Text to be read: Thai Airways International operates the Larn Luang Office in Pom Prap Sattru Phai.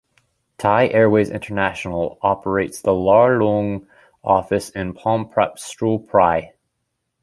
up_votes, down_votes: 1, 2